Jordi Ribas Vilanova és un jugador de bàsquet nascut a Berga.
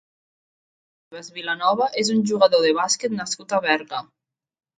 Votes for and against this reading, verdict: 0, 2, rejected